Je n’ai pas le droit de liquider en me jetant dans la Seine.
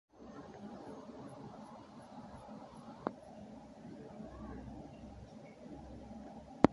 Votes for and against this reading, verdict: 0, 2, rejected